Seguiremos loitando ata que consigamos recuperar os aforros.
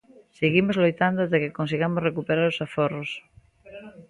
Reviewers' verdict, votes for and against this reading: rejected, 0, 2